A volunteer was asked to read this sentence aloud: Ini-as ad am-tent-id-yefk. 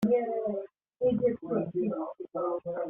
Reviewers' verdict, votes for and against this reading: rejected, 0, 2